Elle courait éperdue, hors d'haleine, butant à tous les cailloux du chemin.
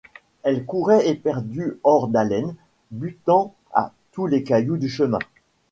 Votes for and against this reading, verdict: 2, 0, accepted